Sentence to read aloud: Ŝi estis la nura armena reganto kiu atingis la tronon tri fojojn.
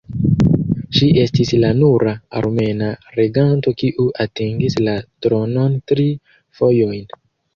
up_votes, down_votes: 2, 0